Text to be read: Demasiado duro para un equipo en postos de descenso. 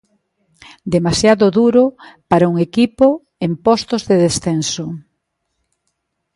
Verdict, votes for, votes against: accepted, 2, 0